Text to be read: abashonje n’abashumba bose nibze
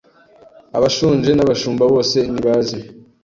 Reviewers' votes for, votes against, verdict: 1, 2, rejected